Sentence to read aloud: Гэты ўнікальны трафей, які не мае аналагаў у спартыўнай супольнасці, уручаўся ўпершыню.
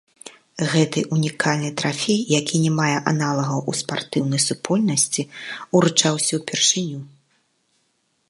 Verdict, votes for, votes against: rejected, 1, 2